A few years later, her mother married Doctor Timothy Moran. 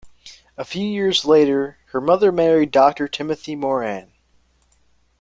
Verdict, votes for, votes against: accepted, 2, 1